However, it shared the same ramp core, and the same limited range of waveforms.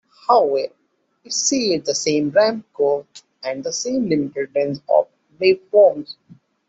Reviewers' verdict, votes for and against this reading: rejected, 1, 2